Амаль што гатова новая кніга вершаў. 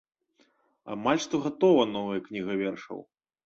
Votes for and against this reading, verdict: 2, 0, accepted